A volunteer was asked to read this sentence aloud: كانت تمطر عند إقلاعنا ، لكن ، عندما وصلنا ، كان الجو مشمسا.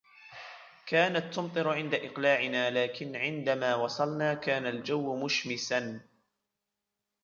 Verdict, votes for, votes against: rejected, 1, 2